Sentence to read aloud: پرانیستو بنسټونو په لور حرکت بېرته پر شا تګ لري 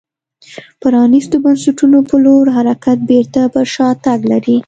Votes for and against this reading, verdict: 2, 0, accepted